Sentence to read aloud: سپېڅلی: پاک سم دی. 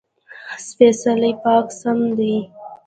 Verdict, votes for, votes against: accepted, 2, 1